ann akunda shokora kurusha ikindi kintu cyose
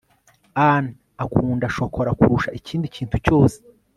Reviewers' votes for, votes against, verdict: 2, 0, accepted